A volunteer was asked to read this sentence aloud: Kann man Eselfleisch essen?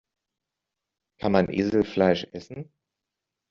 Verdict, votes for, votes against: accepted, 2, 0